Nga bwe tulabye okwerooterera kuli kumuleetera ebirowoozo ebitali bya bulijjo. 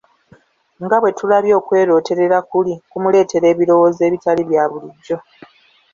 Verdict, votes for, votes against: accepted, 2, 0